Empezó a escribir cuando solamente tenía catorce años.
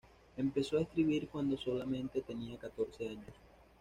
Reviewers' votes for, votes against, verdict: 2, 0, accepted